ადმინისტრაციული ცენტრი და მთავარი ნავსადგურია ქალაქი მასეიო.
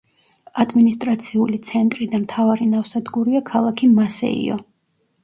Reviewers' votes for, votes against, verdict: 1, 2, rejected